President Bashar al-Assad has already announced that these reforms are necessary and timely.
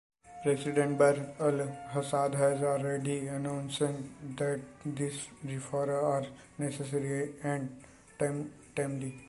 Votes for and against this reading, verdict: 0, 2, rejected